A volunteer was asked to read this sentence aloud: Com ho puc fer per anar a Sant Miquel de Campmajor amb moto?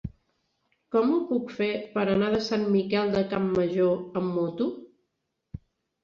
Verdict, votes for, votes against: rejected, 0, 2